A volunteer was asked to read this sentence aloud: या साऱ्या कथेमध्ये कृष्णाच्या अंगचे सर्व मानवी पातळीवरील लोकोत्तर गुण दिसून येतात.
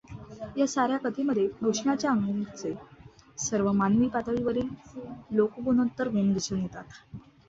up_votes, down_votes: 1, 2